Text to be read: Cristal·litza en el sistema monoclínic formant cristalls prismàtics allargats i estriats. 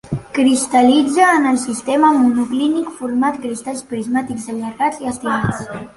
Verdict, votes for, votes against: rejected, 1, 2